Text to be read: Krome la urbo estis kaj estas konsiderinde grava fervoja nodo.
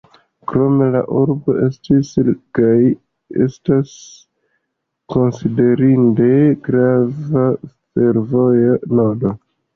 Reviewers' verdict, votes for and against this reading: rejected, 1, 2